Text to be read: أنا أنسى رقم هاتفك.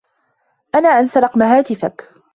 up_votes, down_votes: 1, 2